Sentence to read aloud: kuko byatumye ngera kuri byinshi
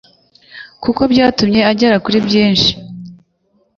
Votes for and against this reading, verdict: 1, 2, rejected